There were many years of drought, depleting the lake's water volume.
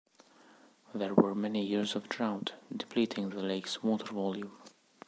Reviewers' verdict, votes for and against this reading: rejected, 1, 2